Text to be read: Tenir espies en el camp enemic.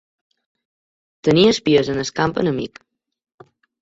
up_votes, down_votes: 2, 1